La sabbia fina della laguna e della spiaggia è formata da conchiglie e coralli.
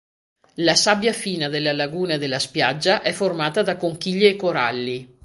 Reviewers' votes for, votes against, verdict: 2, 0, accepted